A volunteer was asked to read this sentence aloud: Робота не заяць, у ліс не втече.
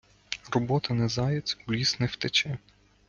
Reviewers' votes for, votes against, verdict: 2, 0, accepted